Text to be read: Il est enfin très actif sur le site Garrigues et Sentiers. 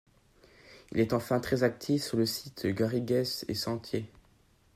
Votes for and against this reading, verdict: 0, 2, rejected